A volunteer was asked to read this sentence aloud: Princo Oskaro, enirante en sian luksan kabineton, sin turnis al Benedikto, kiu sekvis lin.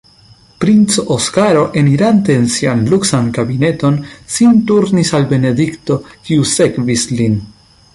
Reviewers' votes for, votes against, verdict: 2, 0, accepted